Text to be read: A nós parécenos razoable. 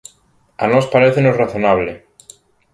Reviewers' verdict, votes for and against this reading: rejected, 0, 3